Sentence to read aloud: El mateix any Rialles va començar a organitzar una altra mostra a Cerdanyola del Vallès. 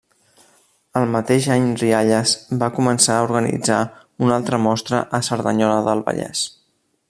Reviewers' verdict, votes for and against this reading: accepted, 2, 0